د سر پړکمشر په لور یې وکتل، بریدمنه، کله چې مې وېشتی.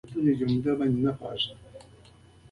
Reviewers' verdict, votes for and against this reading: rejected, 0, 2